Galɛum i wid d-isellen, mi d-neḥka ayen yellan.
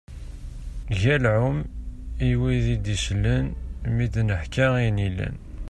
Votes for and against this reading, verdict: 2, 0, accepted